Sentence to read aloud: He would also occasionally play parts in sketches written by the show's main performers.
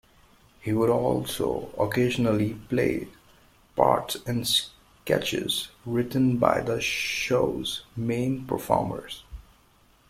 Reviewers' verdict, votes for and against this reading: rejected, 1, 2